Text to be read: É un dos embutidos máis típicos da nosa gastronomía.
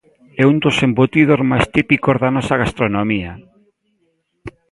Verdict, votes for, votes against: accepted, 2, 0